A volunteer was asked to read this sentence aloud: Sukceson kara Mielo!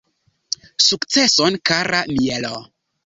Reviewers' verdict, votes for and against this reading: accepted, 3, 0